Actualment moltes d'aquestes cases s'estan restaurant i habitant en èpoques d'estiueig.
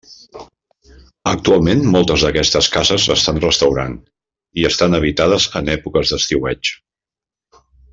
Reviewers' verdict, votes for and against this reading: rejected, 0, 2